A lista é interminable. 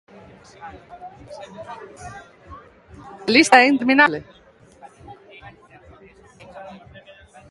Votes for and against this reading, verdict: 0, 2, rejected